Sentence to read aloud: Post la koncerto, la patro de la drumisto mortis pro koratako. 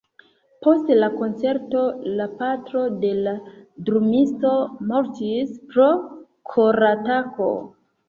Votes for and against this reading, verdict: 2, 0, accepted